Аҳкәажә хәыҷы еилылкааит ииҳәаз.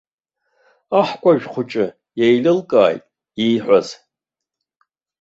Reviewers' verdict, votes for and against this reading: rejected, 1, 2